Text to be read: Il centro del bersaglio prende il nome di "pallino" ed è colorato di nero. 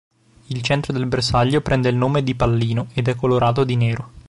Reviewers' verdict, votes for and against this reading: accepted, 2, 0